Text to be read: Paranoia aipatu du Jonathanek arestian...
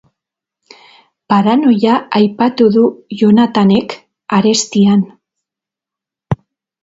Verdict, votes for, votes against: accepted, 4, 0